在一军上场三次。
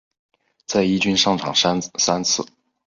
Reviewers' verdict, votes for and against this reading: accepted, 2, 0